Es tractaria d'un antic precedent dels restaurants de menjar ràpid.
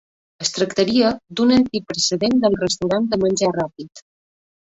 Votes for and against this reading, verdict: 0, 2, rejected